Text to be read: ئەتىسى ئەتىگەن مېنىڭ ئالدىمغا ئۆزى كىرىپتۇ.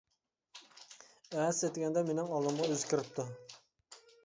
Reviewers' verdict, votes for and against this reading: rejected, 0, 2